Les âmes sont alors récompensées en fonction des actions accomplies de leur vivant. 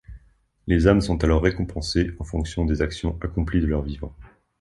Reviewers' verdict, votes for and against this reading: accepted, 2, 0